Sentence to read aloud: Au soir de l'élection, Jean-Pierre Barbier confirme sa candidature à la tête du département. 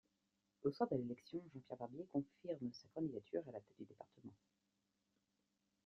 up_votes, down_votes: 2, 1